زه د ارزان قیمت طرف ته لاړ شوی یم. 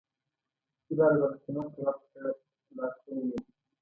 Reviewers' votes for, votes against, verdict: 2, 1, accepted